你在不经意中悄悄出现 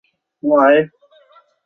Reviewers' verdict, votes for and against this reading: rejected, 0, 2